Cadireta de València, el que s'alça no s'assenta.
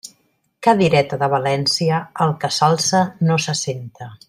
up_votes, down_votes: 3, 0